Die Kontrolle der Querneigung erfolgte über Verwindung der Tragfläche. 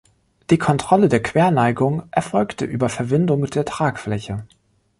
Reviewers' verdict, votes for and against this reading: rejected, 1, 2